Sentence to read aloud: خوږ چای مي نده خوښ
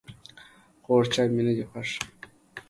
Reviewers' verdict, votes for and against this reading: accepted, 2, 0